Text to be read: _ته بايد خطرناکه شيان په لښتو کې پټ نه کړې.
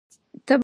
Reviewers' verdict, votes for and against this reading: rejected, 0, 2